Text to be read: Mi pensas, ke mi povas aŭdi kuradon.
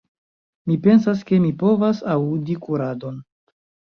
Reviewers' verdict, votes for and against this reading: rejected, 0, 2